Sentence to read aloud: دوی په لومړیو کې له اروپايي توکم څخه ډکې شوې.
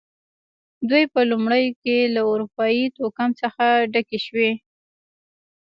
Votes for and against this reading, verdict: 1, 2, rejected